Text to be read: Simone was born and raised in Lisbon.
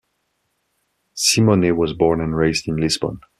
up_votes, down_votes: 1, 2